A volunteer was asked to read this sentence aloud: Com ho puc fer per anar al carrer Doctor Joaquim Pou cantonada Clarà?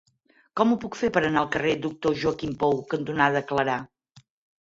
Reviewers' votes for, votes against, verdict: 6, 0, accepted